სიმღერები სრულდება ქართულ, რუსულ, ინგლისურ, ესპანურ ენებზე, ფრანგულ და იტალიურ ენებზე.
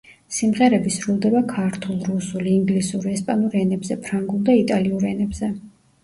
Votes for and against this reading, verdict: 1, 2, rejected